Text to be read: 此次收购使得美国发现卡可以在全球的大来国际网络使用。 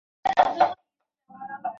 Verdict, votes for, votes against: rejected, 0, 2